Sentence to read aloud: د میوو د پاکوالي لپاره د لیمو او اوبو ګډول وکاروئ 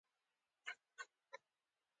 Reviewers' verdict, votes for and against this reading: accepted, 2, 1